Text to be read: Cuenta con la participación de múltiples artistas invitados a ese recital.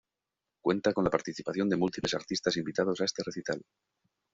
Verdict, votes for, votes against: rejected, 1, 2